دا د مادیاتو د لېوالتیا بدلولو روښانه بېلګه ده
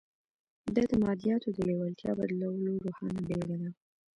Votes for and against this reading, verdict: 2, 0, accepted